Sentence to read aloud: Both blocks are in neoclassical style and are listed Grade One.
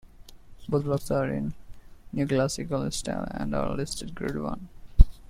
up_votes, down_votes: 2, 0